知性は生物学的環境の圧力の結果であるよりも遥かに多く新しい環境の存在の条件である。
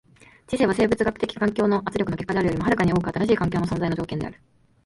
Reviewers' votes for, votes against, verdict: 0, 2, rejected